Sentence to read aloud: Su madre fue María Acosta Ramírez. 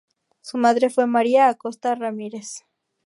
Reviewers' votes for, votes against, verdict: 2, 2, rejected